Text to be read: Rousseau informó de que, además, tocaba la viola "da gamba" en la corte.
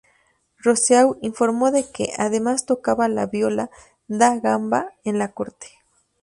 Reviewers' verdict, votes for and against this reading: rejected, 0, 2